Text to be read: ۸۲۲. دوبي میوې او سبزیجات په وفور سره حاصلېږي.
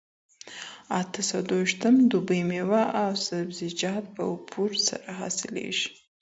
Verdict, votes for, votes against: rejected, 0, 2